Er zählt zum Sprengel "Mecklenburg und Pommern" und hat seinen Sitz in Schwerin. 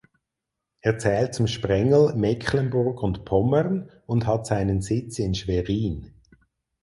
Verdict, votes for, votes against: accepted, 4, 0